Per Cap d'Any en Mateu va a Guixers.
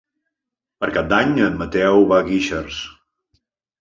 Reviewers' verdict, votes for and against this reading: accepted, 4, 0